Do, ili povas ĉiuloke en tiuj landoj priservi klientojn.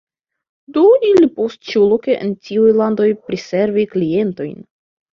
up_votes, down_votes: 0, 2